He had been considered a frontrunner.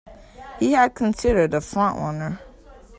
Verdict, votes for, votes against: rejected, 1, 2